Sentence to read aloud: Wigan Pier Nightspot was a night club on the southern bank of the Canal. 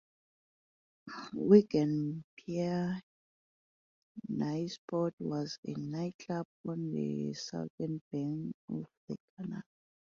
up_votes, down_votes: 0, 2